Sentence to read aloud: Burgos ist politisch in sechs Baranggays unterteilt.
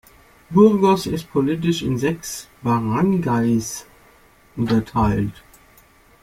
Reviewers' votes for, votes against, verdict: 2, 0, accepted